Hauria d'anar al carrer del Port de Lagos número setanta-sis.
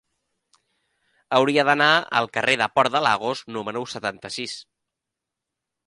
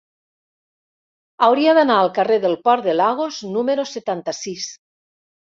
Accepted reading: second